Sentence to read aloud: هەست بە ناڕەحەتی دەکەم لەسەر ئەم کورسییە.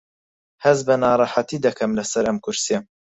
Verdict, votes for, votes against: accepted, 4, 0